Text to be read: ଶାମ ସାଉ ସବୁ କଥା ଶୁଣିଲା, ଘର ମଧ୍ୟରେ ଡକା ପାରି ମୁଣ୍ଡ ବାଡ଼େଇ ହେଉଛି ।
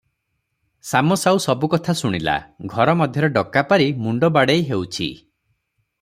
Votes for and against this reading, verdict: 3, 0, accepted